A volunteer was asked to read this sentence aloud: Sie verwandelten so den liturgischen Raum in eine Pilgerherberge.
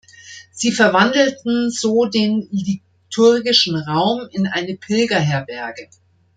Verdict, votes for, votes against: rejected, 1, 2